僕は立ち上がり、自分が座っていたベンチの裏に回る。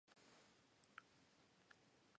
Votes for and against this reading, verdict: 3, 9, rejected